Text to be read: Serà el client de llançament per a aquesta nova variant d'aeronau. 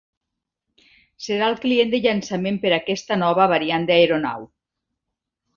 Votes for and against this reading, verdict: 2, 0, accepted